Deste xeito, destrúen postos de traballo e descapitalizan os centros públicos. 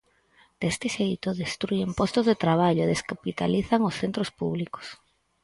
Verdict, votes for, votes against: accepted, 4, 0